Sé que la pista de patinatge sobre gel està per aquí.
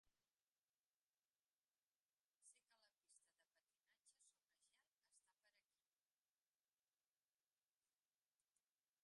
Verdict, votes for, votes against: rejected, 0, 2